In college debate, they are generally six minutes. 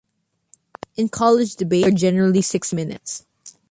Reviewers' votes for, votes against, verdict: 0, 2, rejected